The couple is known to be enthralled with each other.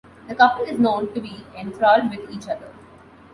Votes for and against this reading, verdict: 2, 1, accepted